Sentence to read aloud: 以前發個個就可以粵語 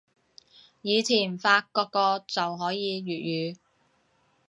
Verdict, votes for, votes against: accepted, 2, 1